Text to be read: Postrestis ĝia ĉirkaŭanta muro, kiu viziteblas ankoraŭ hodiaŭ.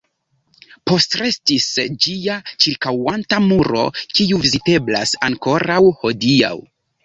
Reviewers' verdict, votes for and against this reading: accepted, 2, 0